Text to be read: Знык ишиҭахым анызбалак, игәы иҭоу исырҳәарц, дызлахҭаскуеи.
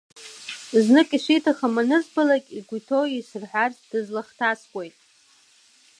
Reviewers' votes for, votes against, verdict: 1, 2, rejected